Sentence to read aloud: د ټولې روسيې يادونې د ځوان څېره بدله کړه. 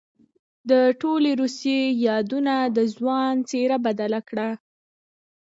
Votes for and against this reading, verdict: 2, 0, accepted